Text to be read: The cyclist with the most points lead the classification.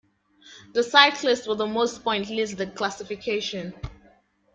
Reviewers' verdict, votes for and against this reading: accepted, 2, 0